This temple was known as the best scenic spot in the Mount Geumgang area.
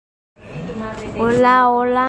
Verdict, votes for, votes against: rejected, 0, 2